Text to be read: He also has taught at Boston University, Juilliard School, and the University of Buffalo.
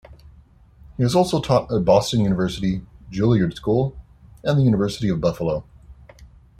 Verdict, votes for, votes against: rejected, 1, 2